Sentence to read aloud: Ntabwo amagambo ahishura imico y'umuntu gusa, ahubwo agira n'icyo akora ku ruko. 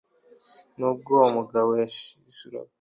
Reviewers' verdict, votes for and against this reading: rejected, 1, 2